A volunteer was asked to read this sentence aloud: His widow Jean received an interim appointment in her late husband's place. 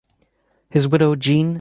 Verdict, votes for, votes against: rejected, 0, 3